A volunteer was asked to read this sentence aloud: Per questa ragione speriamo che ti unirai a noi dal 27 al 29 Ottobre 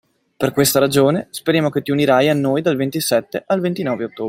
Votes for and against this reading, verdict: 0, 2, rejected